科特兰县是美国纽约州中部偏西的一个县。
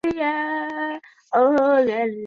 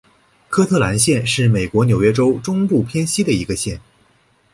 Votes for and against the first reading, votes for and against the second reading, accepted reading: 0, 2, 3, 0, second